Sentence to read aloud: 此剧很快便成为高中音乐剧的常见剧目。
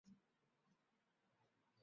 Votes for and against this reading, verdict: 1, 3, rejected